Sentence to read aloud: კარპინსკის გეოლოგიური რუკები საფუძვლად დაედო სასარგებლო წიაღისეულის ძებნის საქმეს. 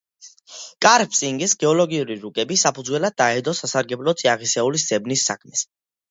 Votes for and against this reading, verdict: 2, 0, accepted